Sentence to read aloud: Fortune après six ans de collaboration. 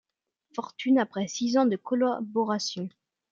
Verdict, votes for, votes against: accepted, 2, 1